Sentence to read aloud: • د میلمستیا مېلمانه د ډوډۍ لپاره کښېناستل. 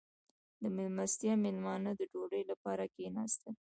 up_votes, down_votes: 0, 2